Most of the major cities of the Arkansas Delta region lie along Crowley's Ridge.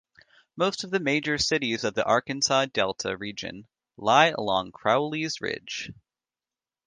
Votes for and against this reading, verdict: 2, 0, accepted